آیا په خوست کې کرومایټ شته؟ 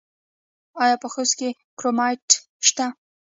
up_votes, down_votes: 2, 0